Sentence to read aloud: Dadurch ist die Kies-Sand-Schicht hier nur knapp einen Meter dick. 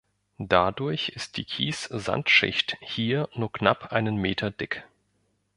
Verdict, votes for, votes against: accepted, 2, 0